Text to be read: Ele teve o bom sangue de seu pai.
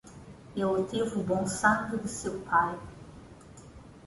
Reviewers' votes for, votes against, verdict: 1, 2, rejected